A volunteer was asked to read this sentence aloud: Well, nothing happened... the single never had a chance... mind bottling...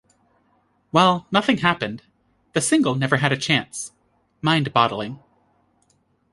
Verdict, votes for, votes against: accepted, 2, 0